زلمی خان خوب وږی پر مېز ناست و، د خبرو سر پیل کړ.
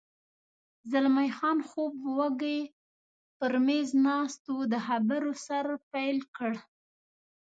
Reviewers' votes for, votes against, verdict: 2, 0, accepted